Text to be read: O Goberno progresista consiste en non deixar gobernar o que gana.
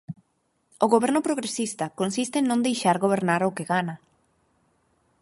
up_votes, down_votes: 4, 0